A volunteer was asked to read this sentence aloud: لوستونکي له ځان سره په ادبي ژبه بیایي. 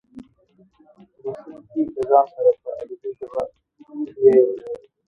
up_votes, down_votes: 1, 3